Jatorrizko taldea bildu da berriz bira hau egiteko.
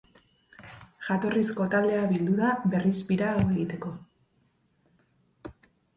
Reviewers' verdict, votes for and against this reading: accepted, 2, 0